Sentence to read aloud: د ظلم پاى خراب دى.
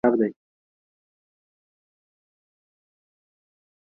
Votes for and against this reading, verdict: 0, 4, rejected